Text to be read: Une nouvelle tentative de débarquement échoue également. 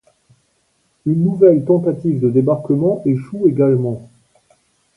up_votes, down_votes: 2, 0